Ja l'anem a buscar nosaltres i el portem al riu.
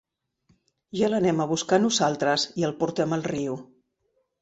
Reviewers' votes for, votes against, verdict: 0, 2, rejected